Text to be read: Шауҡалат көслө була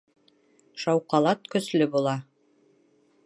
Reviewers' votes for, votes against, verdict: 2, 0, accepted